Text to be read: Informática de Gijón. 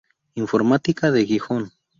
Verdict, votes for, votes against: rejected, 0, 2